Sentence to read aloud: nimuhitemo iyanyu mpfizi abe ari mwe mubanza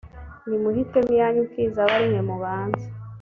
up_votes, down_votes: 2, 0